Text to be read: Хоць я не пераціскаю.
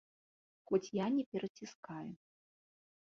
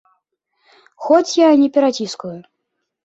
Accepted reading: first